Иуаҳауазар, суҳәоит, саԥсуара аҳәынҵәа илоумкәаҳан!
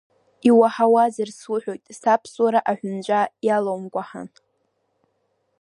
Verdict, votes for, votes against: rejected, 1, 2